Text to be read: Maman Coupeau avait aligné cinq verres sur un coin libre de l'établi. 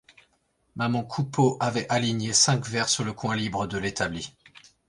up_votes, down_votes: 2, 1